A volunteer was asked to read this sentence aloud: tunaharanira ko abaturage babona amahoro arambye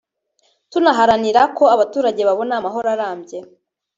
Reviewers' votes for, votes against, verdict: 0, 2, rejected